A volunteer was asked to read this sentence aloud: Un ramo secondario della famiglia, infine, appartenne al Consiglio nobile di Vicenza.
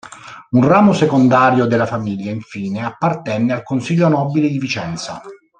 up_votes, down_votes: 2, 0